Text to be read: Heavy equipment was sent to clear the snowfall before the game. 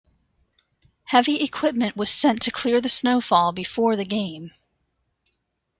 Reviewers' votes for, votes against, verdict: 2, 0, accepted